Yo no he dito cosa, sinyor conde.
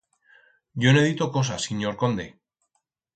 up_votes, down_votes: 4, 0